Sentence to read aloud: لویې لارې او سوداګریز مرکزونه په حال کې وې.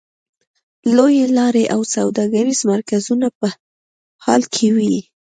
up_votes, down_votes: 2, 0